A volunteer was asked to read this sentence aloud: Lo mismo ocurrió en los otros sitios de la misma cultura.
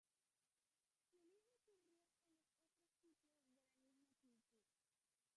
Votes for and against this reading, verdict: 0, 2, rejected